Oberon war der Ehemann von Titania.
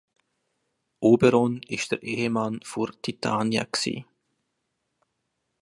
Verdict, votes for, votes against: rejected, 1, 2